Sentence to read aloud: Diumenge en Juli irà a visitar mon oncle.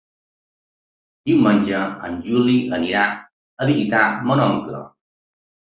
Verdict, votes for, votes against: rejected, 1, 2